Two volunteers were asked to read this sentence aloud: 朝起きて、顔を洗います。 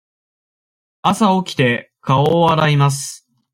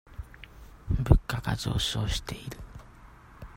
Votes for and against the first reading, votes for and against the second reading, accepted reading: 2, 0, 0, 2, first